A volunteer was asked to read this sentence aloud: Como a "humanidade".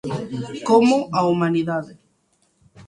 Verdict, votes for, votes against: accepted, 2, 1